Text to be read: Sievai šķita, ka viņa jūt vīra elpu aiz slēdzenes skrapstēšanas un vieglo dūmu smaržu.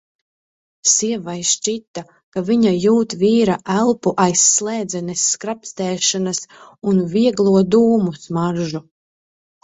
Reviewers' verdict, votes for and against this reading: accepted, 2, 0